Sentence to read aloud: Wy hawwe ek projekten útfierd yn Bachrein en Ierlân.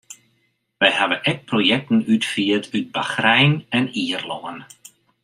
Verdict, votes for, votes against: accepted, 2, 0